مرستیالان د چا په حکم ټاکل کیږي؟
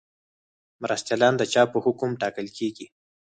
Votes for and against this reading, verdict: 2, 4, rejected